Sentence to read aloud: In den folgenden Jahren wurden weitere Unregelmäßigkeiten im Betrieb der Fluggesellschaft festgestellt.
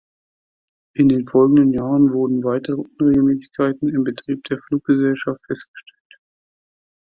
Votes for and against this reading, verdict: 2, 0, accepted